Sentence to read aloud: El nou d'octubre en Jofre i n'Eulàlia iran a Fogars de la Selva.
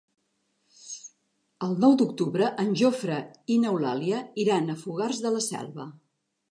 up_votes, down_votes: 3, 0